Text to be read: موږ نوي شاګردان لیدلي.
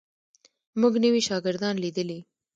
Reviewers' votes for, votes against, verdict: 2, 0, accepted